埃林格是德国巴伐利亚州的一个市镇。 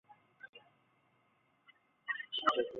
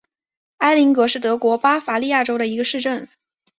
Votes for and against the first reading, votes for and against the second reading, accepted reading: 0, 2, 2, 0, second